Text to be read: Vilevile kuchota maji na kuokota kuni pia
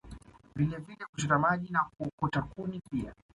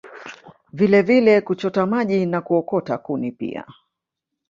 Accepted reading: first